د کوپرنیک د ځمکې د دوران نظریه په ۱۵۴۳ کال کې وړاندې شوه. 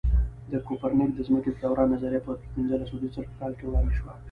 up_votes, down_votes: 0, 2